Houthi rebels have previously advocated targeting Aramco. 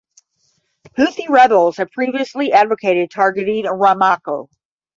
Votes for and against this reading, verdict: 0, 5, rejected